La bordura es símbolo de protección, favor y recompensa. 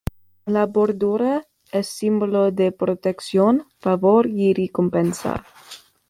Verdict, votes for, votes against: rejected, 0, 2